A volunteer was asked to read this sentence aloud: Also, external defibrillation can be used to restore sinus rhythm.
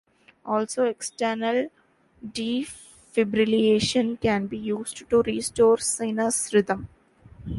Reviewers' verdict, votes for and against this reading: rejected, 1, 2